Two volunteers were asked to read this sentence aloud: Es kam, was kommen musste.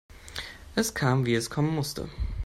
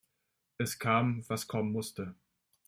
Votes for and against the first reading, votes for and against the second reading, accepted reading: 0, 2, 2, 1, second